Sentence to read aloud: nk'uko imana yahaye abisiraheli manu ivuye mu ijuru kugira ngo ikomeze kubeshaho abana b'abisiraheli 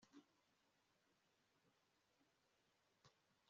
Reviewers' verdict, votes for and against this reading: rejected, 0, 2